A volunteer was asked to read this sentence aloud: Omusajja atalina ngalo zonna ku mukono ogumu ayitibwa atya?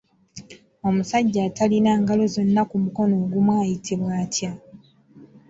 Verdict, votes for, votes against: accepted, 2, 0